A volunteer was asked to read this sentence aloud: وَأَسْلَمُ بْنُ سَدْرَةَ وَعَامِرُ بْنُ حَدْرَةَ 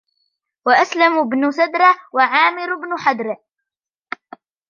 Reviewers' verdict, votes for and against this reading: accepted, 2, 0